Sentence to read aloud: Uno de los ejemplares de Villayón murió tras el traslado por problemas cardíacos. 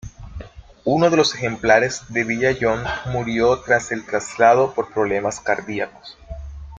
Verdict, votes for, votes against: accepted, 2, 0